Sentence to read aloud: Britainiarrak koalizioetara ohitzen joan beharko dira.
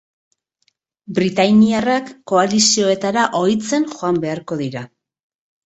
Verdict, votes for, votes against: accepted, 4, 0